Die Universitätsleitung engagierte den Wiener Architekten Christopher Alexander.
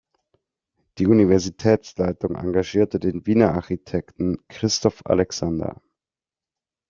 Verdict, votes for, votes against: rejected, 1, 2